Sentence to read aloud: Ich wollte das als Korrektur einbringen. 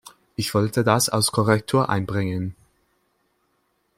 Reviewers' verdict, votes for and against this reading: accepted, 2, 0